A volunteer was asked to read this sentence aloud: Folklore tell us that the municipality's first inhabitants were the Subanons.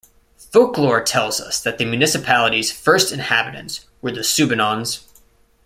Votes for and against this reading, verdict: 2, 0, accepted